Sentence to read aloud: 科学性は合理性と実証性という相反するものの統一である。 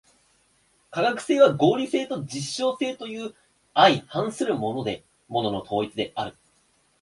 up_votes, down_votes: 1, 2